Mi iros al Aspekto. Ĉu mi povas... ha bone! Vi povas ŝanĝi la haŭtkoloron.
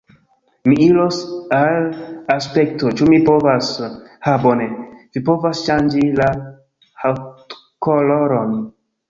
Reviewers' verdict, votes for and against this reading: accepted, 3, 0